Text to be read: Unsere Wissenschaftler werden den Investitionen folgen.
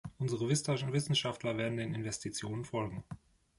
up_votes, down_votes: 0, 2